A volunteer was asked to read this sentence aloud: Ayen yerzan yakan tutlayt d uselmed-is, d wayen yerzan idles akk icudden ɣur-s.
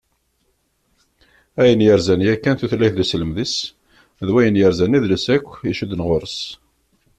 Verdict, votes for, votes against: accepted, 2, 0